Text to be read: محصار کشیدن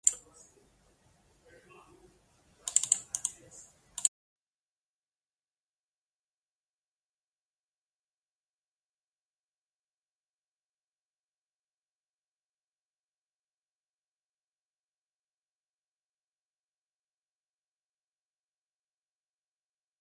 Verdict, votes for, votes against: rejected, 0, 6